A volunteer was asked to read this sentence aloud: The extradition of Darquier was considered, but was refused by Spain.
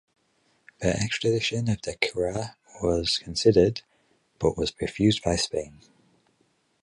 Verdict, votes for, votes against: rejected, 4, 4